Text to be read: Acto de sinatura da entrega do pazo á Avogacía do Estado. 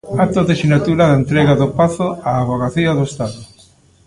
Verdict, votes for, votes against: accepted, 2, 0